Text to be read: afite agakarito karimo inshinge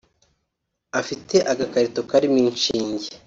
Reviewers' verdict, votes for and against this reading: accepted, 2, 0